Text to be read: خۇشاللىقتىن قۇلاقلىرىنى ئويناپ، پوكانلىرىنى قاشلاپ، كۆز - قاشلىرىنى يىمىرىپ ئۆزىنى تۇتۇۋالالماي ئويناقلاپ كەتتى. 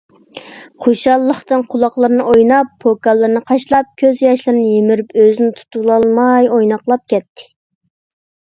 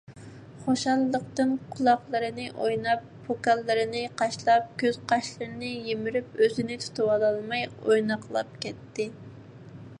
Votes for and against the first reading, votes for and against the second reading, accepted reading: 0, 2, 2, 0, second